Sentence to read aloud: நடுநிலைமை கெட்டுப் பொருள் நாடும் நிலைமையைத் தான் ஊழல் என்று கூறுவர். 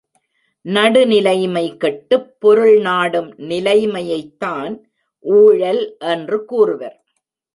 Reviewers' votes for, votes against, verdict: 2, 0, accepted